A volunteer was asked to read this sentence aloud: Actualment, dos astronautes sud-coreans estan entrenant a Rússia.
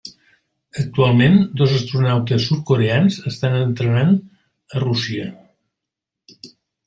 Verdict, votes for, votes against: accepted, 3, 0